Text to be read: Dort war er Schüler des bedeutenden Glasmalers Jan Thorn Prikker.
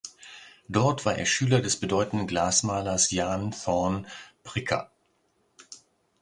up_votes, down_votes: 2, 0